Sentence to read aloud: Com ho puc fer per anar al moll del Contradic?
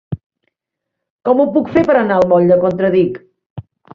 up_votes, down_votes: 1, 2